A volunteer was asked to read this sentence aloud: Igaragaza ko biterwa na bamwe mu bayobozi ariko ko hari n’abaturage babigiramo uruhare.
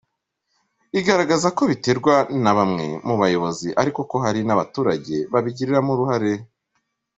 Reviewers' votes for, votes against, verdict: 2, 1, accepted